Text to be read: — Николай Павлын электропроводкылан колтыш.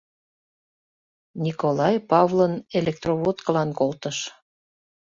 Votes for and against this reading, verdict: 0, 2, rejected